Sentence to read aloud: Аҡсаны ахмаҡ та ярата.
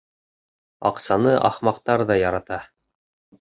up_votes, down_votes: 0, 2